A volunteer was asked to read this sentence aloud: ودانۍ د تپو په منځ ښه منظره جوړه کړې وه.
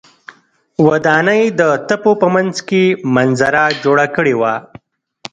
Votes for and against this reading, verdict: 1, 2, rejected